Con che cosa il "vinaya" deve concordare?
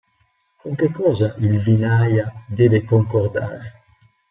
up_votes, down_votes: 0, 2